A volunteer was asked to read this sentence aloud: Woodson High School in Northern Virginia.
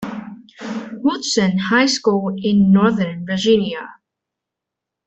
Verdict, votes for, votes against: accepted, 2, 1